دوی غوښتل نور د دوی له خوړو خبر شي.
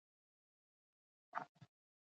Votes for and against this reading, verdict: 1, 2, rejected